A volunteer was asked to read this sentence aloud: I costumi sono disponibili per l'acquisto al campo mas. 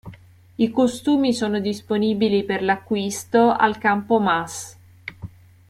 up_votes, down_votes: 2, 0